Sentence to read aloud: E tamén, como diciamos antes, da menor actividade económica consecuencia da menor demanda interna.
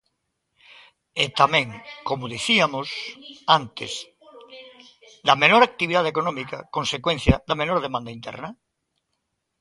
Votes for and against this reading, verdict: 0, 2, rejected